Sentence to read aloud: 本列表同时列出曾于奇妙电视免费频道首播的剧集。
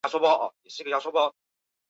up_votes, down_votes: 2, 3